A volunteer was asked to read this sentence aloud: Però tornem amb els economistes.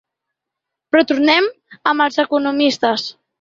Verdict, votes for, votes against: accepted, 2, 0